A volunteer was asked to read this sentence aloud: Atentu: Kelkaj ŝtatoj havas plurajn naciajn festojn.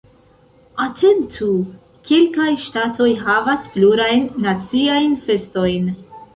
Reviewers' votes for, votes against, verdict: 2, 1, accepted